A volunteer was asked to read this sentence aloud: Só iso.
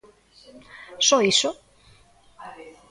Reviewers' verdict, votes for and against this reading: rejected, 0, 2